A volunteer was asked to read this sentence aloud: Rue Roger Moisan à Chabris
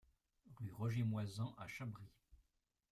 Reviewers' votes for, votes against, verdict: 1, 2, rejected